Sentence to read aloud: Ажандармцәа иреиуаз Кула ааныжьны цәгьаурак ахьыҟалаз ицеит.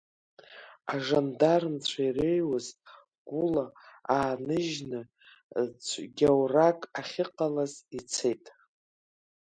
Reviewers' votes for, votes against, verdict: 1, 2, rejected